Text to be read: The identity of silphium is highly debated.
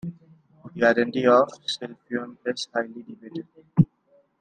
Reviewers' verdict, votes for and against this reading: rejected, 1, 2